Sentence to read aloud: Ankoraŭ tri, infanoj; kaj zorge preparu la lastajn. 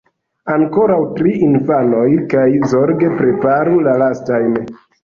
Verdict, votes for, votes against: rejected, 1, 2